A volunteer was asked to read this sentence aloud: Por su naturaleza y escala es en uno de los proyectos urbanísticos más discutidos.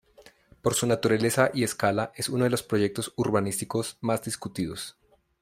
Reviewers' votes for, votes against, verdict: 2, 0, accepted